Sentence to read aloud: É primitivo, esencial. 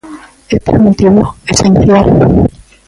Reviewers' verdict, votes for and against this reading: rejected, 0, 2